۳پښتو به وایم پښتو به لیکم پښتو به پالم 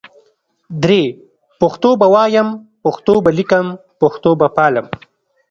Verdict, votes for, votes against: rejected, 0, 2